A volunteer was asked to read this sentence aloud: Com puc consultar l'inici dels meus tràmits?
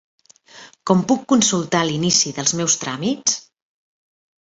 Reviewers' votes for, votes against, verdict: 0, 2, rejected